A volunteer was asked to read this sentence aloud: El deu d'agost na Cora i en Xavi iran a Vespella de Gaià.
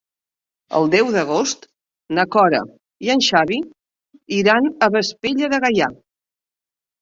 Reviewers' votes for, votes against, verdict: 2, 0, accepted